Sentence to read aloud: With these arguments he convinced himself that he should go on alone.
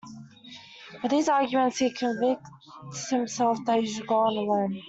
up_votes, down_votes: 1, 2